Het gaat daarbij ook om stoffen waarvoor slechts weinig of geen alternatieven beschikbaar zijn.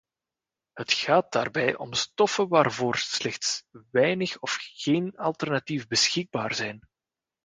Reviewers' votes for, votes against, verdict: 1, 2, rejected